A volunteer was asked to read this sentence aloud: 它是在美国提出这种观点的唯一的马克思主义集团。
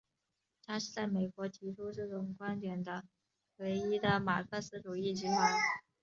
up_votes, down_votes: 1, 2